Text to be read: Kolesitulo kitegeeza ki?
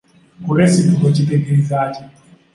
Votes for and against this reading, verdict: 2, 0, accepted